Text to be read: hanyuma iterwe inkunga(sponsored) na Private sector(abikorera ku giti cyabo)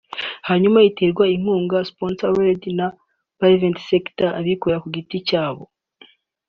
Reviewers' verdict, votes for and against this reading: accepted, 3, 0